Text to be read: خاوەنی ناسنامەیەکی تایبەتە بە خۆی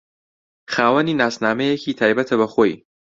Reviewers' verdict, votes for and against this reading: accepted, 2, 0